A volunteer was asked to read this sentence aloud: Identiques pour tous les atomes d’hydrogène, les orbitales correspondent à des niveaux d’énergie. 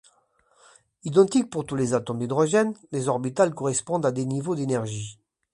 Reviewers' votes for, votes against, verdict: 2, 0, accepted